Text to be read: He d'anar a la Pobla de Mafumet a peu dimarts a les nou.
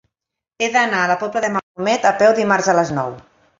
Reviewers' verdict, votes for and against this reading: rejected, 0, 2